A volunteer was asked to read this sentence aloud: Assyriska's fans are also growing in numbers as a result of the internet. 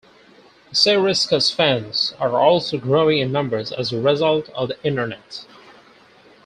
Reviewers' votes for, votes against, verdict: 0, 4, rejected